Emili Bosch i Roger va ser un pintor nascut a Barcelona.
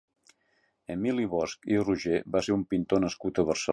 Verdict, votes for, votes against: rejected, 0, 2